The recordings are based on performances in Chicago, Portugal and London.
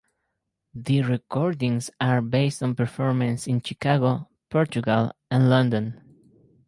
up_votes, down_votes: 2, 2